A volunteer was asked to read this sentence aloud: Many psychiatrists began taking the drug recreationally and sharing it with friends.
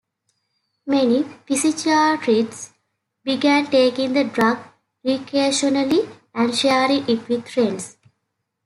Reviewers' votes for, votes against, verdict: 0, 2, rejected